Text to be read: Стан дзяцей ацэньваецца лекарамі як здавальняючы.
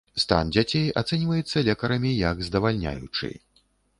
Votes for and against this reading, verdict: 2, 0, accepted